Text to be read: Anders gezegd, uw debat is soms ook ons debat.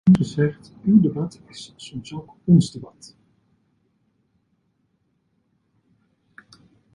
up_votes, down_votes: 1, 2